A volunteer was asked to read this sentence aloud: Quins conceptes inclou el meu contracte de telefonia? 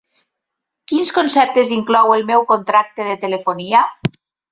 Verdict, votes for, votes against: accepted, 3, 0